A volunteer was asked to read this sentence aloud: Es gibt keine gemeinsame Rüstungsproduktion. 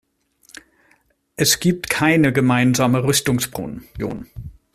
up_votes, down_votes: 0, 2